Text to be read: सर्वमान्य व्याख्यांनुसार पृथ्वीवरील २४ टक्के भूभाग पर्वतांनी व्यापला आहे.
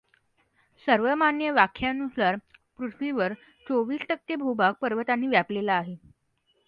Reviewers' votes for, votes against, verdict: 0, 2, rejected